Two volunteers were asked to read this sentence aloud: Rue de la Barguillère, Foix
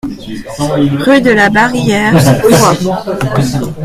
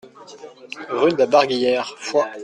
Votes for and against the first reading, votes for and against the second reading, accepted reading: 0, 2, 2, 0, second